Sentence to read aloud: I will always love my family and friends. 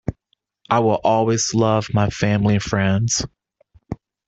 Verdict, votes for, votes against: accepted, 2, 0